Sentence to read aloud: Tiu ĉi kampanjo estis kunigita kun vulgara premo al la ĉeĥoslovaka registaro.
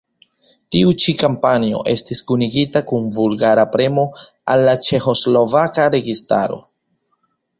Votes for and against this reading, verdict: 3, 0, accepted